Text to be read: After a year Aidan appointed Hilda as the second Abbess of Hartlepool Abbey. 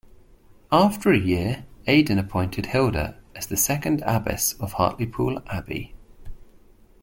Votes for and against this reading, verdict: 2, 0, accepted